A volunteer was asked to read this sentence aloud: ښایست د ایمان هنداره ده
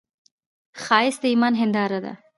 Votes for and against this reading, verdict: 1, 2, rejected